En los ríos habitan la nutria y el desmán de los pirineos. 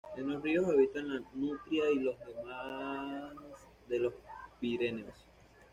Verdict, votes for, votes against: rejected, 1, 2